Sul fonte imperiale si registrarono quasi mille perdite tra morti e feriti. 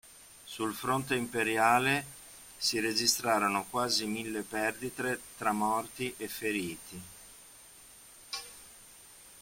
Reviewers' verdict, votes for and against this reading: rejected, 1, 2